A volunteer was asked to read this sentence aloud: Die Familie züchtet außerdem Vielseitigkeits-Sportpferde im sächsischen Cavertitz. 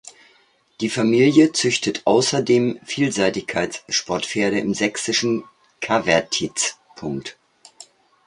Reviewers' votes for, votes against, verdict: 0, 2, rejected